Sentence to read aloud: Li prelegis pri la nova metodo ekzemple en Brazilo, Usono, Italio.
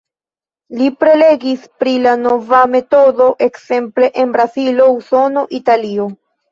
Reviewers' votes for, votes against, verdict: 1, 2, rejected